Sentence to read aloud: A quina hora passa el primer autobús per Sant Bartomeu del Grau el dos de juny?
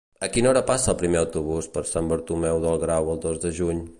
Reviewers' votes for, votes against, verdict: 0, 2, rejected